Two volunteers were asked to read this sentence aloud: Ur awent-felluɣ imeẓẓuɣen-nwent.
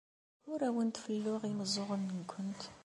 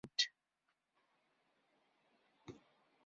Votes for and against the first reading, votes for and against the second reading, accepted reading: 2, 0, 1, 2, first